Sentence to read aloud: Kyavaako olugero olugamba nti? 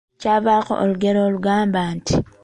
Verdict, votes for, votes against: accepted, 2, 0